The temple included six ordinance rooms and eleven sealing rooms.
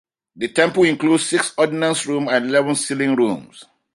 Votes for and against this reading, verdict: 2, 1, accepted